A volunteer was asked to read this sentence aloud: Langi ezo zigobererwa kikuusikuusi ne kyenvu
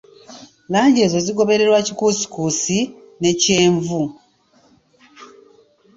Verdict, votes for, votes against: accepted, 2, 0